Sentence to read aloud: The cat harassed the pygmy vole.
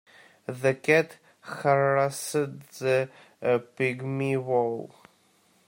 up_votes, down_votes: 1, 2